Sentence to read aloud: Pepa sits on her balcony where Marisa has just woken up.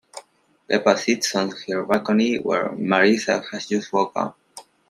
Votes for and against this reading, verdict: 0, 2, rejected